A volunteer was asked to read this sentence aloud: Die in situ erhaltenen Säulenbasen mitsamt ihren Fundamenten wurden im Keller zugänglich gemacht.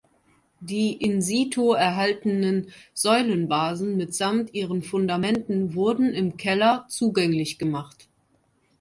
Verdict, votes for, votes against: accepted, 2, 0